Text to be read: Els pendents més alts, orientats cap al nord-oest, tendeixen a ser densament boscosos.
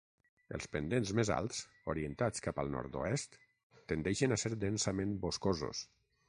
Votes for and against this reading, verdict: 6, 0, accepted